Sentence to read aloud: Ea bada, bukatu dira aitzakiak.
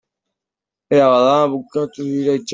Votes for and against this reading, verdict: 0, 2, rejected